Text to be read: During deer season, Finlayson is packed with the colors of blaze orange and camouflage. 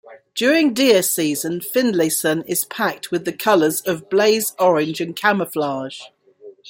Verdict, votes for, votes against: accepted, 2, 0